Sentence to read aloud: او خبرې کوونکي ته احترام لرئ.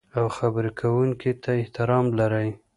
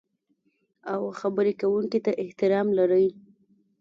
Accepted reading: first